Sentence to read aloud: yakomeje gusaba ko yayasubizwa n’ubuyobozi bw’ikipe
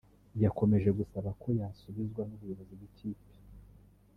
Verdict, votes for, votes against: accepted, 2, 0